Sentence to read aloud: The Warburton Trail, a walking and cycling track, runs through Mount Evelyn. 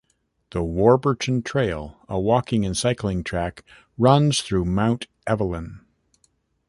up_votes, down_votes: 2, 0